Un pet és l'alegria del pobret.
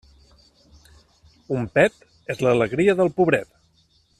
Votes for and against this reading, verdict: 3, 0, accepted